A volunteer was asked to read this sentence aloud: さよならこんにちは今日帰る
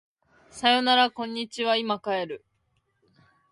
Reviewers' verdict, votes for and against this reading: rejected, 0, 2